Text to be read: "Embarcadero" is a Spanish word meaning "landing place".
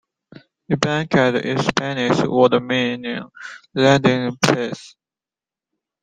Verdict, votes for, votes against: rejected, 1, 2